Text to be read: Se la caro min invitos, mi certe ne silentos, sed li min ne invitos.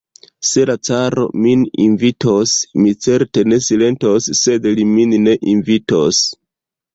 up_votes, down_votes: 2, 0